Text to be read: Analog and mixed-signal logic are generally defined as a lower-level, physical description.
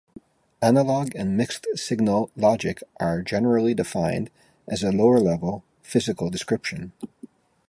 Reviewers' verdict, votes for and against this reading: accepted, 2, 0